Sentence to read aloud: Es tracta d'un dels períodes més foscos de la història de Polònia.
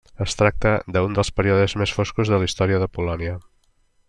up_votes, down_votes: 1, 2